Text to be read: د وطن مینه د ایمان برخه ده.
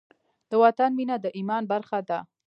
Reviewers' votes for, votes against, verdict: 2, 1, accepted